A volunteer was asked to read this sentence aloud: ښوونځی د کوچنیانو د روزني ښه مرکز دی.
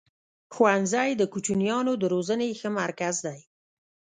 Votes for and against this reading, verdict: 1, 2, rejected